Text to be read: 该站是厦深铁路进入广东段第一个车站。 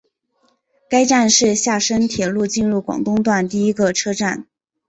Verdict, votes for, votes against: accepted, 2, 0